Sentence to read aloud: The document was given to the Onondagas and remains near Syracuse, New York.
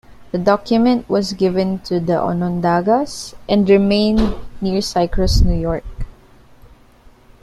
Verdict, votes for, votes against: accepted, 2, 1